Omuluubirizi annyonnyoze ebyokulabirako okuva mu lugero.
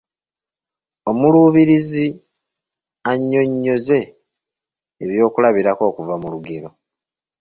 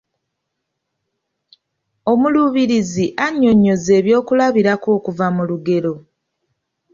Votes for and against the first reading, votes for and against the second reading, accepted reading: 0, 2, 4, 0, second